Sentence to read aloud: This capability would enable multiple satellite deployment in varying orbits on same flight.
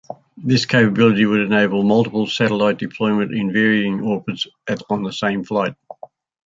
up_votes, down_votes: 2, 0